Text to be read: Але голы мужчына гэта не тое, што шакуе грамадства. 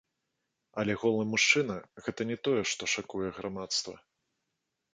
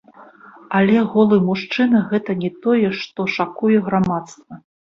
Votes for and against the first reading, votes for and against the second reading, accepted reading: 2, 0, 1, 3, first